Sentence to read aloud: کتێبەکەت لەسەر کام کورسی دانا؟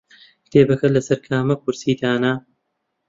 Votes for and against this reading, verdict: 0, 2, rejected